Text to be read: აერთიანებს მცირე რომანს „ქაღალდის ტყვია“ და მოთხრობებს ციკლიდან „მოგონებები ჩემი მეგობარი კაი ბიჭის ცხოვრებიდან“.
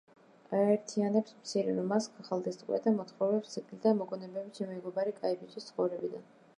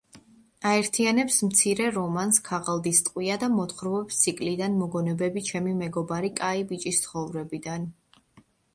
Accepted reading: second